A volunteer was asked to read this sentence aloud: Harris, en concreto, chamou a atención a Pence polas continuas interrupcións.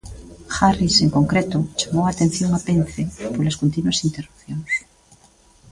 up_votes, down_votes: 0, 2